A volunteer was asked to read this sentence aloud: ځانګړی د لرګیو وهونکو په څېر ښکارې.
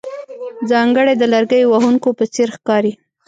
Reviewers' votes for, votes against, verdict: 0, 2, rejected